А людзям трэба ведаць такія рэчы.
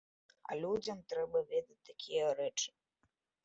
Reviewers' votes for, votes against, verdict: 2, 0, accepted